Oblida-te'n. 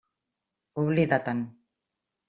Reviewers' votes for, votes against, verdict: 3, 0, accepted